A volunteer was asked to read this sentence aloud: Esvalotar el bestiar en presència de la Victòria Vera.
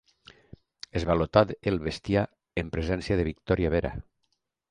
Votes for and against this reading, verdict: 1, 2, rejected